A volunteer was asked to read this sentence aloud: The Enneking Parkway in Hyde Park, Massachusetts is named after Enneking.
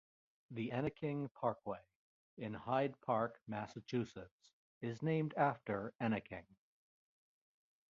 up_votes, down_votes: 2, 0